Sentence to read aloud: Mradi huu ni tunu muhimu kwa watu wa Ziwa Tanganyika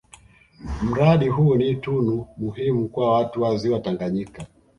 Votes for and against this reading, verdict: 2, 0, accepted